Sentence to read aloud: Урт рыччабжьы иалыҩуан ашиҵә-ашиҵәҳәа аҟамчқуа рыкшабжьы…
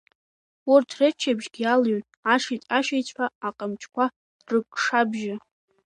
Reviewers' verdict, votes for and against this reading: accepted, 3, 2